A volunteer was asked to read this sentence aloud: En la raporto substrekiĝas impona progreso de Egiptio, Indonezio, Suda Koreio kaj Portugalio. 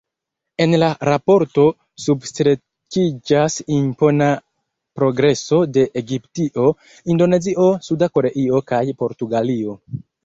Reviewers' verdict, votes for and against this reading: accepted, 2, 0